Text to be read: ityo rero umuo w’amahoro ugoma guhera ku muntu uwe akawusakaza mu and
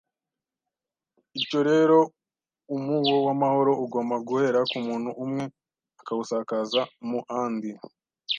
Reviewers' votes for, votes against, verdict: 2, 0, accepted